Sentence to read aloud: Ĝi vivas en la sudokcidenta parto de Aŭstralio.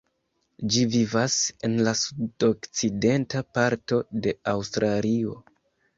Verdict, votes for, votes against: accepted, 2, 0